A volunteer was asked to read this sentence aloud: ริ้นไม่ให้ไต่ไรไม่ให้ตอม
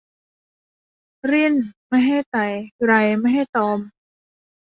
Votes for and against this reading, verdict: 0, 2, rejected